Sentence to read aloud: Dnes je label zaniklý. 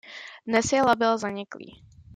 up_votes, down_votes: 2, 0